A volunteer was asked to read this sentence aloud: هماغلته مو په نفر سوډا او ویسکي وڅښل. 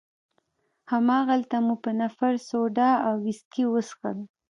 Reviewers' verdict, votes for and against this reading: accepted, 2, 0